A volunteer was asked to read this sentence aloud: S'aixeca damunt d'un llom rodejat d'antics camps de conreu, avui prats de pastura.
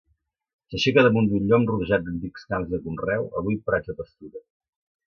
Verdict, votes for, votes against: rejected, 1, 2